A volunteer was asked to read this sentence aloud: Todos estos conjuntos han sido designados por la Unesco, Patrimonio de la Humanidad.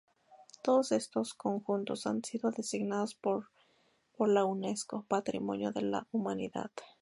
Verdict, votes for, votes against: rejected, 0, 2